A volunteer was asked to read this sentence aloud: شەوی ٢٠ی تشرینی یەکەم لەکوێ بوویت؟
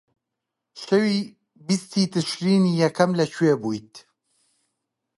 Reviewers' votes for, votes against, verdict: 0, 2, rejected